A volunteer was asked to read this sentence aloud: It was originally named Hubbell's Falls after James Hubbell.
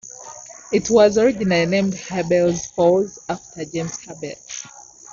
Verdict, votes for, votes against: rejected, 0, 2